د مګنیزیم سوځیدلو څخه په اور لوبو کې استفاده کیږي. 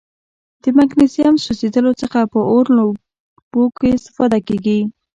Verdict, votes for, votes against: accepted, 2, 0